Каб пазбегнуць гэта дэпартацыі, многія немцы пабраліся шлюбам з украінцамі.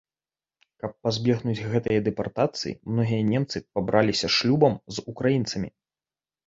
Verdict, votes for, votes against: rejected, 1, 2